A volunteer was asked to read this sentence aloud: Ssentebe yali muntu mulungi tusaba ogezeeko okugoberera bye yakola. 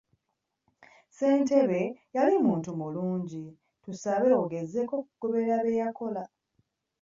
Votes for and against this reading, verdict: 1, 2, rejected